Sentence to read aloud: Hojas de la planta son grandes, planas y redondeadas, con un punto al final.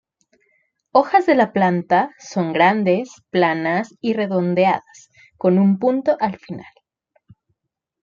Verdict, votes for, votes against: rejected, 0, 2